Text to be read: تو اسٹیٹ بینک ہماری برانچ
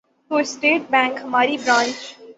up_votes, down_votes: 0, 3